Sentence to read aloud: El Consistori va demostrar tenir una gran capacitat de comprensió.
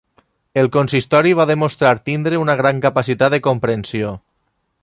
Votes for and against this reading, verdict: 0, 2, rejected